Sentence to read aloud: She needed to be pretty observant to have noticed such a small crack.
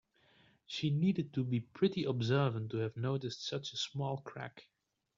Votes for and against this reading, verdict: 2, 0, accepted